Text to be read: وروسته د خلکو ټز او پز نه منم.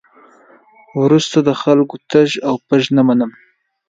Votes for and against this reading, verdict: 2, 1, accepted